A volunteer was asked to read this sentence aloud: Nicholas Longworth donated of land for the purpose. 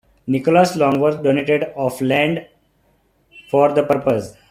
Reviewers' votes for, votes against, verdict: 1, 2, rejected